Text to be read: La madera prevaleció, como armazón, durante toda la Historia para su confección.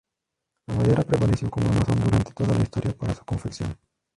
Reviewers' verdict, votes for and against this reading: rejected, 0, 2